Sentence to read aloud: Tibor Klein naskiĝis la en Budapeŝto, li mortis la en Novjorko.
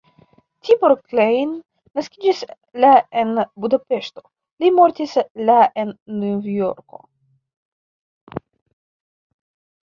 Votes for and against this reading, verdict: 0, 2, rejected